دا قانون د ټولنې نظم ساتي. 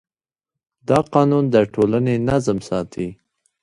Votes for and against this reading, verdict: 0, 2, rejected